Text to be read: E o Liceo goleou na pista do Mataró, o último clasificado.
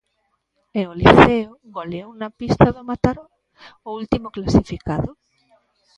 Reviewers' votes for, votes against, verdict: 0, 2, rejected